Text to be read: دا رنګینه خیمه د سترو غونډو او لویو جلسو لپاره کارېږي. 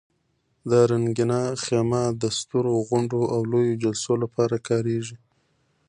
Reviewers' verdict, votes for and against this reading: accepted, 2, 1